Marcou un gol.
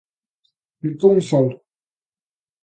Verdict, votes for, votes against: rejected, 1, 2